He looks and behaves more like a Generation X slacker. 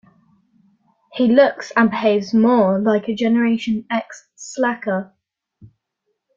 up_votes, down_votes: 2, 0